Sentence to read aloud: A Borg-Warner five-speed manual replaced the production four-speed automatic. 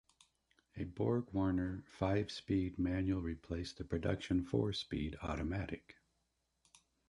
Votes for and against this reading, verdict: 1, 2, rejected